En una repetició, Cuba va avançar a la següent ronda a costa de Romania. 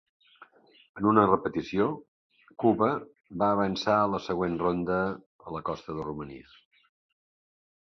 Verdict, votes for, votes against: rejected, 0, 2